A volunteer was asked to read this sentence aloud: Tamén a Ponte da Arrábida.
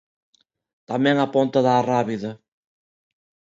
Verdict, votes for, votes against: accepted, 2, 0